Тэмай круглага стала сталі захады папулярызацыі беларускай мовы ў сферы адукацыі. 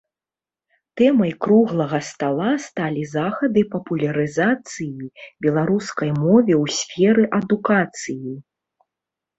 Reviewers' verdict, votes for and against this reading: rejected, 0, 2